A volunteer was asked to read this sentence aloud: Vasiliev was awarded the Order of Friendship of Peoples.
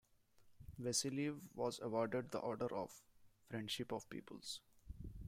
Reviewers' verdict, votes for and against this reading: rejected, 1, 2